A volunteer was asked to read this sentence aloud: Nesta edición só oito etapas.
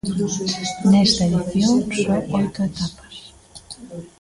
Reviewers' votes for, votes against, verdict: 1, 2, rejected